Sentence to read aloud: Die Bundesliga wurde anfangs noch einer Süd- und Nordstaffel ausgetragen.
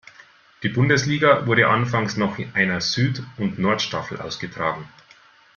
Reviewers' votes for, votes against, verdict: 2, 0, accepted